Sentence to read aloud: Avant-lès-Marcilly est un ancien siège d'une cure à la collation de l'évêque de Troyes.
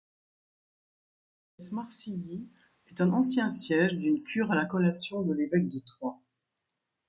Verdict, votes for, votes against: rejected, 0, 2